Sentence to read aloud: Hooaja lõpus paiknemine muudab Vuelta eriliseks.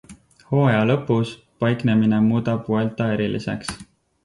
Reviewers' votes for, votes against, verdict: 4, 0, accepted